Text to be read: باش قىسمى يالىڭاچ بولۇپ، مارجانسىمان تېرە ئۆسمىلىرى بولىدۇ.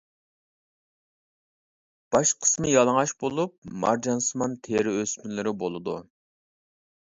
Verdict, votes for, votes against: accepted, 2, 0